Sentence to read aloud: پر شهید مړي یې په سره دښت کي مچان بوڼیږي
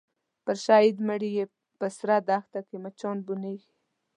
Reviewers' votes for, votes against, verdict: 0, 2, rejected